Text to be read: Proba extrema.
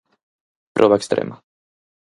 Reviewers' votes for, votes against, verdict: 4, 0, accepted